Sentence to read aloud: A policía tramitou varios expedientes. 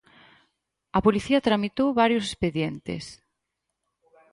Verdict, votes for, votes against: rejected, 2, 2